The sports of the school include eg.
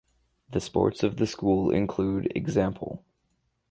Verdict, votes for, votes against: rejected, 2, 2